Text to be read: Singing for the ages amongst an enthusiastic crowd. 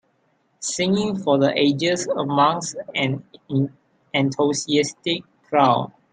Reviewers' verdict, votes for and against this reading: rejected, 0, 3